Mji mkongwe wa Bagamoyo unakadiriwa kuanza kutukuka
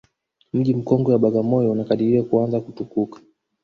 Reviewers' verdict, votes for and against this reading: rejected, 0, 2